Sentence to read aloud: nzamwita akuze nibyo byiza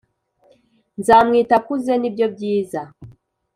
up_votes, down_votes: 2, 0